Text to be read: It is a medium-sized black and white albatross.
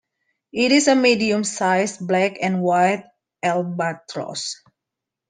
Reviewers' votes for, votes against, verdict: 2, 0, accepted